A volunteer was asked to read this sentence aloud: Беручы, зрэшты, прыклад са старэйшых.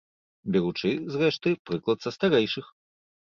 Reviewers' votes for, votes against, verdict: 2, 0, accepted